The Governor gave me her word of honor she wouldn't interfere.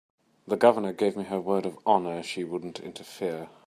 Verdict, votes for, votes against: accepted, 2, 0